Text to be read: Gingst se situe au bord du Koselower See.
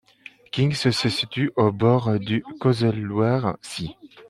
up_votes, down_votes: 0, 2